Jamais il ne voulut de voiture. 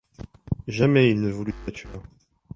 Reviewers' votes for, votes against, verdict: 1, 2, rejected